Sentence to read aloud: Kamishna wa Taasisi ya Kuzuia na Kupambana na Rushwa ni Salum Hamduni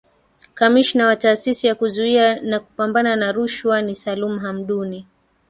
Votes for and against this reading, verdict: 1, 2, rejected